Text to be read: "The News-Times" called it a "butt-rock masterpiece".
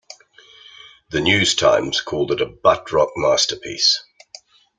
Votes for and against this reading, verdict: 2, 0, accepted